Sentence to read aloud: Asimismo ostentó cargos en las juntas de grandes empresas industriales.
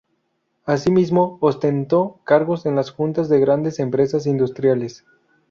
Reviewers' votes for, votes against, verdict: 0, 2, rejected